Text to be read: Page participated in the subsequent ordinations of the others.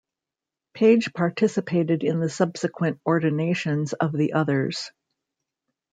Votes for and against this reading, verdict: 2, 0, accepted